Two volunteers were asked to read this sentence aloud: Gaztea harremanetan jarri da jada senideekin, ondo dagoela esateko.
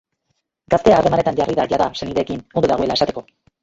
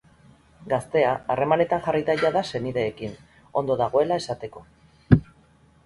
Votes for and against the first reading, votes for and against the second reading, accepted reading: 1, 2, 4, 0, second